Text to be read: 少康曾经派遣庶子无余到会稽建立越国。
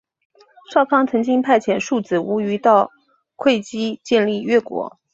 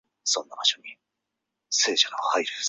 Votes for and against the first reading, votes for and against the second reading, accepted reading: 10, 1, 0, 2, first